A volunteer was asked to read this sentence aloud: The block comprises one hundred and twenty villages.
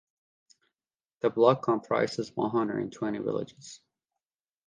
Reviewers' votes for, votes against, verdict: 2, 0, accepted